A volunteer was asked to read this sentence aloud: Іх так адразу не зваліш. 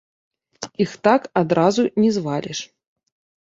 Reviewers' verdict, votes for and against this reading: accepted, 2, 0